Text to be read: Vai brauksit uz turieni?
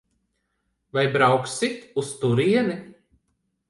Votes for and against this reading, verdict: 2, 0, accepted